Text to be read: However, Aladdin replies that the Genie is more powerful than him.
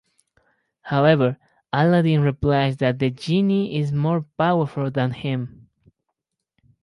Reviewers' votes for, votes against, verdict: 4, 0, accepted